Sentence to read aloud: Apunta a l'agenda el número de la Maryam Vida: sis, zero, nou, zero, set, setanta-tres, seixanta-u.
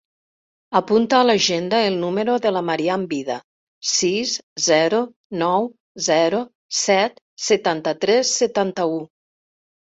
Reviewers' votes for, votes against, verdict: 0, 3, rejected